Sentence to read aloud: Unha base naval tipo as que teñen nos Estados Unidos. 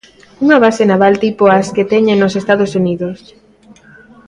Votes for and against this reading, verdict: 2, 0, accepted